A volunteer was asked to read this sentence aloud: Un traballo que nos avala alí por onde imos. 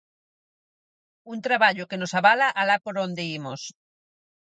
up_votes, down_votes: 0, 4